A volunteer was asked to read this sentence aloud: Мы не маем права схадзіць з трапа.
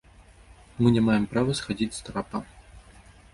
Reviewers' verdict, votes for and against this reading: accepted, 2, 0